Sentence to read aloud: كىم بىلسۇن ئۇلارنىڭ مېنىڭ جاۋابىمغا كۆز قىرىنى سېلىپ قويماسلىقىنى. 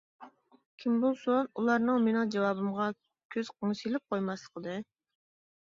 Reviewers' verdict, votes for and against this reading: rejected, 0, 2